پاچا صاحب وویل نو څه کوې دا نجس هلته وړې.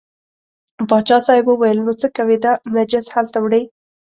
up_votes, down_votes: 2, 0